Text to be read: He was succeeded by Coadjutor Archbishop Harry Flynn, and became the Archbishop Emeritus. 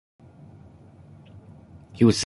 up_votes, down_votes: 0, 2